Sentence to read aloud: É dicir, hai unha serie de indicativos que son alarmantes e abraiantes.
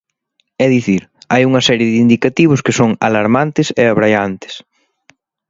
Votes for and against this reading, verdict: 2, 0, accepted